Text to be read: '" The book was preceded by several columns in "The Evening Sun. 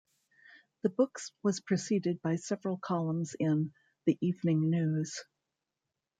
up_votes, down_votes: 0, 2